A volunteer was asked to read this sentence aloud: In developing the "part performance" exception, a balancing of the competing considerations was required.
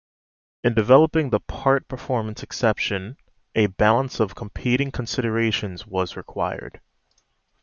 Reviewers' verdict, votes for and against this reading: rejected, 1, 2